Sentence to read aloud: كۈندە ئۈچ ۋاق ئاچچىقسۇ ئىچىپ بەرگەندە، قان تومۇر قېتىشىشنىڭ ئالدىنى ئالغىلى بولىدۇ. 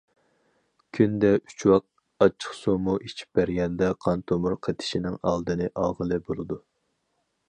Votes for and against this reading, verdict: 0, 4, rejected